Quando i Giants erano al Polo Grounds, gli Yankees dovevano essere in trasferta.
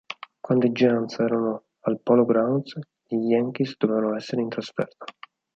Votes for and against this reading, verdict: 0, 4, rejected